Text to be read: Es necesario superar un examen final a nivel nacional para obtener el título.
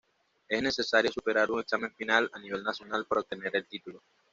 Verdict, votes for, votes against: accepted, 2, 0